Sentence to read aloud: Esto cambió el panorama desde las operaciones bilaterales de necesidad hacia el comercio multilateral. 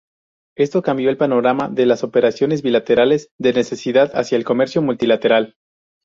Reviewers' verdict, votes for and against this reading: rejected, 0, 2